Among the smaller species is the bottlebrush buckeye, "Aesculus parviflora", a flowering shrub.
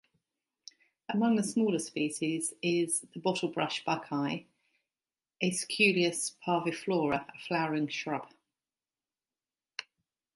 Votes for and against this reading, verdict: 2, 0, accepted